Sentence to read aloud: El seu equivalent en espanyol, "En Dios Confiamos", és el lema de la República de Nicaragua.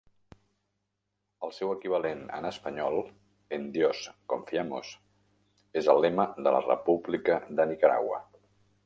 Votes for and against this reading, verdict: 0, 2, rejected